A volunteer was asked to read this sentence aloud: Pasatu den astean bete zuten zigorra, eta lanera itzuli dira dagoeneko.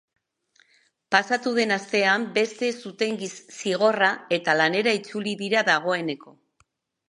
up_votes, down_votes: 0, 2